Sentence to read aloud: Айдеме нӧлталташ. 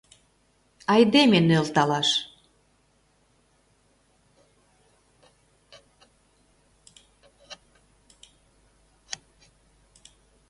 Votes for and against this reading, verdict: 0, 2, rejected